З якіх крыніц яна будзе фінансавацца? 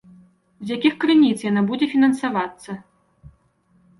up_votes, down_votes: 1, 2